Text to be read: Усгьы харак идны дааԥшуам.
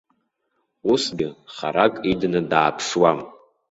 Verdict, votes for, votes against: rejected, 0, 3